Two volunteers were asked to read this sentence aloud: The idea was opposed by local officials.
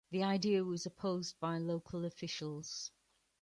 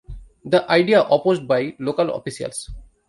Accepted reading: first